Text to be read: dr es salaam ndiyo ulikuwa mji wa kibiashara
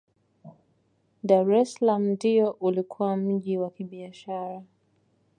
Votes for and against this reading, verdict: 2, 0, accepted